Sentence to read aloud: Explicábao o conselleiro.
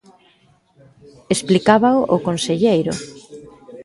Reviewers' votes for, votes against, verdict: 1, 2, rejected